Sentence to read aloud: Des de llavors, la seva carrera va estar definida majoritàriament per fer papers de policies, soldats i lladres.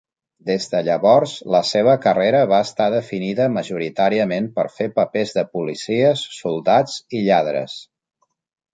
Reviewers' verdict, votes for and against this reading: accepted, 3, 0